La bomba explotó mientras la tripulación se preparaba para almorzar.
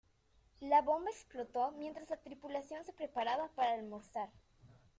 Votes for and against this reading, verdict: 2, 1, accepted